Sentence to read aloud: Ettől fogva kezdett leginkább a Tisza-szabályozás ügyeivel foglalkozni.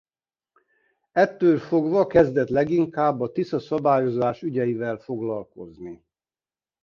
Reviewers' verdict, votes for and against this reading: accepted, 2, 0